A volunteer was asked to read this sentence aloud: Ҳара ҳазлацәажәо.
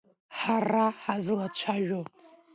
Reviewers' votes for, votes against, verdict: 0, 2, rejected